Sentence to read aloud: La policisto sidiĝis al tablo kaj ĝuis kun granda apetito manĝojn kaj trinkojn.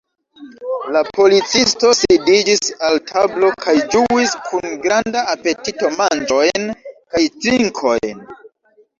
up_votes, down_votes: 0, 2